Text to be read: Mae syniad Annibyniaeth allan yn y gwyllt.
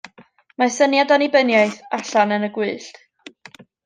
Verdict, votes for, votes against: accepted, 2, 0